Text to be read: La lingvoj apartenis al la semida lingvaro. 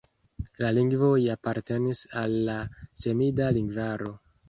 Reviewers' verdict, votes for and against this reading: accepted, 2, 0